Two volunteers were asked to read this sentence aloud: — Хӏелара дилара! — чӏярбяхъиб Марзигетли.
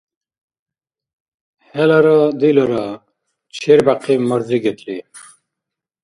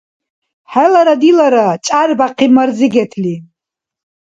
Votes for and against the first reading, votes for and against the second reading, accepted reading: 1, 2, 2, 0, second